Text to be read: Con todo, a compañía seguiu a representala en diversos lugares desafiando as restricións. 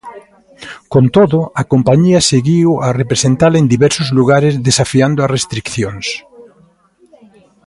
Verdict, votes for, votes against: rejected, 0, 3